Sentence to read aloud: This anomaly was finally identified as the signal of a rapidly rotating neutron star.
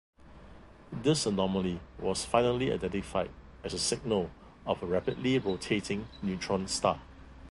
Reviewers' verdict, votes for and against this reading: accepted, 3, 2